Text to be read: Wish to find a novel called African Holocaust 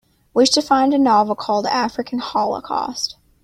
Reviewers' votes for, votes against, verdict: 2, 0, accepted